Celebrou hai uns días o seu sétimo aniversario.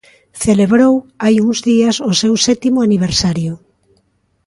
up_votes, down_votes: 2, 0